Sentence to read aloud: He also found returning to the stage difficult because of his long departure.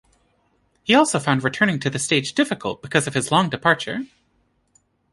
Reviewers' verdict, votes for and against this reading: accepted, 2, 0